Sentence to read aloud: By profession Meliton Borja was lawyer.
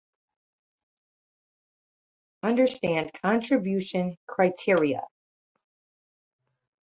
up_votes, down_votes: 0, 2